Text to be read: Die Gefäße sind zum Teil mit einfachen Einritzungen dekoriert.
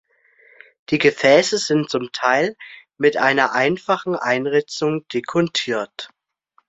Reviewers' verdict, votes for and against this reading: rejected, 0, 2